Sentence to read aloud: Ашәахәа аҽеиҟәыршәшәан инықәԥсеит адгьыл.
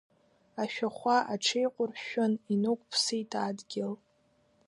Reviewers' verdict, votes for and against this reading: rejected, 0, 2